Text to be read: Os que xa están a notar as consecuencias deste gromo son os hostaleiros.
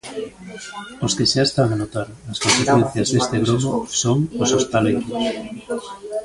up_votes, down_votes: 0, 2